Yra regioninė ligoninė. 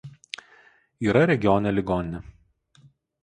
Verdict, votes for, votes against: rejected, 2, 2